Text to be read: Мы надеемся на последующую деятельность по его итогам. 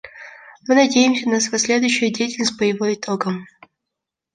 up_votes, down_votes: 1, 2